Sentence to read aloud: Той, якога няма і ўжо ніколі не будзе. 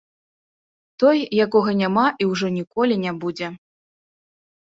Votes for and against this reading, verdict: 2, 0, accepted